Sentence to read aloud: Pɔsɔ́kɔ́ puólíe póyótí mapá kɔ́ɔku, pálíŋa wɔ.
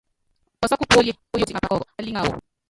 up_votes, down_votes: 0, 2